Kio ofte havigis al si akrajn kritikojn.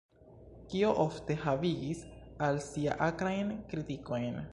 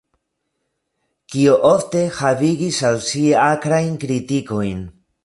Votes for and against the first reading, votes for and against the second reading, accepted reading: 1, 2, 2, 0, second